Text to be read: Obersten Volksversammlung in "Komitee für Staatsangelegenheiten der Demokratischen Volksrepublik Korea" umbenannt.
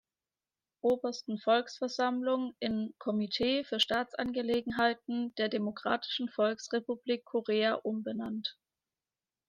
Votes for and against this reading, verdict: 2, 0, accepted